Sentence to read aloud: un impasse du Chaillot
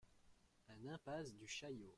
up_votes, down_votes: 2, 1